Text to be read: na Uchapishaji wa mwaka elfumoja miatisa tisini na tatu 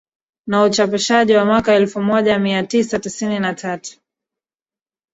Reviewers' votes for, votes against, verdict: 1, 2, rejected